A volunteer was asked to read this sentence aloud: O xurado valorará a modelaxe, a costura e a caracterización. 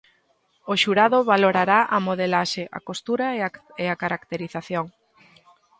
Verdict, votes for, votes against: rejected, 1, 2